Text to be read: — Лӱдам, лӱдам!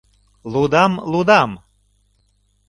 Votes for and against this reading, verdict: 1, 2, rejected